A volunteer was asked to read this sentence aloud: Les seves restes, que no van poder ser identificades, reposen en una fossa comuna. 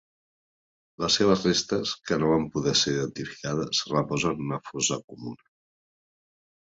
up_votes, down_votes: 2, 0